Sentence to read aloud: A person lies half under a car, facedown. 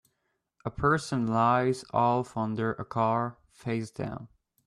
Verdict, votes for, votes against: rejected, 1, 2